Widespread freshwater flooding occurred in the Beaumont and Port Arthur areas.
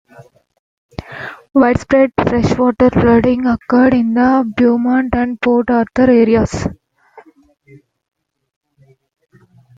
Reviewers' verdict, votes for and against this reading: accepted, 4, 2